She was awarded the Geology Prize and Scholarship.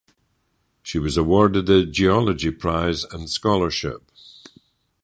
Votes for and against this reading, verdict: 4, 0, accepted